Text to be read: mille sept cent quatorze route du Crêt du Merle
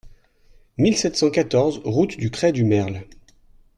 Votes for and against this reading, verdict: 2, 0, accepted